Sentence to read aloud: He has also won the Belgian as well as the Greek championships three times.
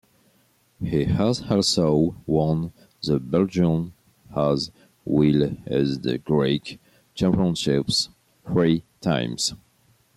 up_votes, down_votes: 1, 2